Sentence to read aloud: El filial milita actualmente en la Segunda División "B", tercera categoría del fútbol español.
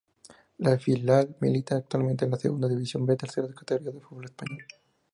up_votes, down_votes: 2, 0